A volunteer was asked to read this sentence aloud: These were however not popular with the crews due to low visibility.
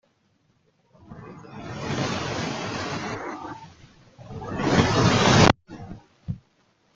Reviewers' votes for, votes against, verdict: 0, 2, rejected